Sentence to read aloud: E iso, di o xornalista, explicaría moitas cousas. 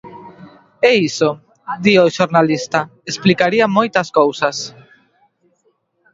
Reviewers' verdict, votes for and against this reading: rejected, 1, 2